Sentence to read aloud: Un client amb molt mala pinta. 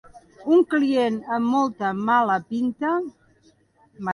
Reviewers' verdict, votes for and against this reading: rejected, 0, 2